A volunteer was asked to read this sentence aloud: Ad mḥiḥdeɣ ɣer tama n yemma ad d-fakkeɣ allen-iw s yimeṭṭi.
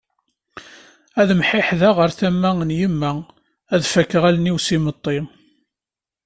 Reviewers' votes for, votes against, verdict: 2, 0, accepted